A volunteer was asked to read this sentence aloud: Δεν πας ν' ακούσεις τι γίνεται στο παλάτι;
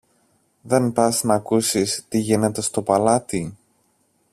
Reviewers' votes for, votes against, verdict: 2, 0, accepted